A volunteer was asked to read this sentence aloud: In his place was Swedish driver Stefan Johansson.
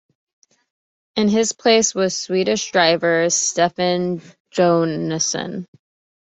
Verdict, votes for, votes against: rejected, 0, 2